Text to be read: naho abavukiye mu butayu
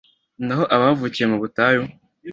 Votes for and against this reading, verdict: 2, 0, accepted